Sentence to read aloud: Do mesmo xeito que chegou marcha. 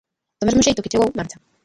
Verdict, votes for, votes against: rejected, 0, 2